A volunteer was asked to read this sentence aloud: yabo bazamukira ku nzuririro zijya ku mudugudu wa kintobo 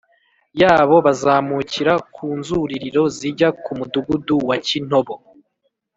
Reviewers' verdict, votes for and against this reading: accepted, 2, 0